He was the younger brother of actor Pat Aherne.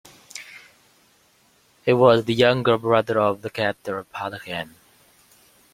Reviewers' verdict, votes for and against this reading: rejected, 1, 2